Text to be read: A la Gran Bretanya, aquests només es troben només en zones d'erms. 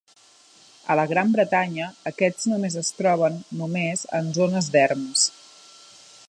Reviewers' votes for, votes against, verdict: 1, 2, rejected